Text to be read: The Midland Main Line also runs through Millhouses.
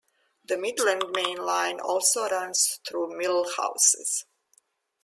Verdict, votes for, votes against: accepted, 2, 0